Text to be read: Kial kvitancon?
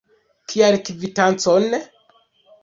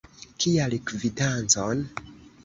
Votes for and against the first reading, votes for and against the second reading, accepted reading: 1, 2, 2, 1, second